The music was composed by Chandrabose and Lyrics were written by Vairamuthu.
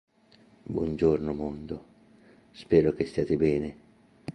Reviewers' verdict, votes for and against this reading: rejected, 0, 2